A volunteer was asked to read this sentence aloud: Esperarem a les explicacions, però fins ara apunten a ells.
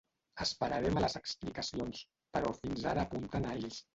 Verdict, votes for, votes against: rejected, 1, 2